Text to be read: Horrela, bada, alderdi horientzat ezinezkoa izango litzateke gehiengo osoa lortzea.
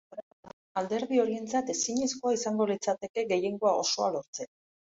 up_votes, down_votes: 0, 2